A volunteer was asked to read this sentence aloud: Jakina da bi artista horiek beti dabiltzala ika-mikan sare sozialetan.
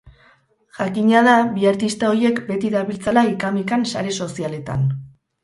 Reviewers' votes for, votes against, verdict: 2, 2, rejected